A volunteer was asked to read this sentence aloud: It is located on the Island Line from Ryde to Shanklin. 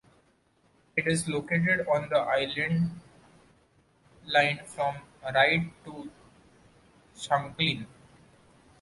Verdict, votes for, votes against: accepted, 2, 0